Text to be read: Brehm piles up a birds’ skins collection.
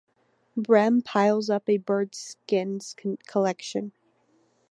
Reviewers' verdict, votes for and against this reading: accepted, 3, 2